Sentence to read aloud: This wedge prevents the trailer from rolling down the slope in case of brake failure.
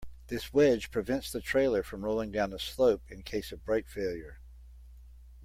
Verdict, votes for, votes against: accepted, 2, 0